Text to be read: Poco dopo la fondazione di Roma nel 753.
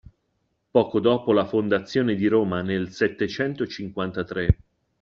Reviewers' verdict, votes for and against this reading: rejected, 0, 2